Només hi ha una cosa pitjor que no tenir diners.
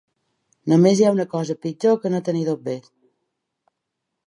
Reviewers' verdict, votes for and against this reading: rejected, 0, 2